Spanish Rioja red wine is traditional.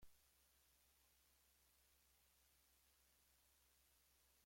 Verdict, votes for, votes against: rejected, 1, 2